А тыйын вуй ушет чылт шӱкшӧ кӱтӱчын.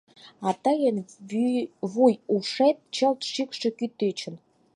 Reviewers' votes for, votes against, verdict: 0, 4, rejected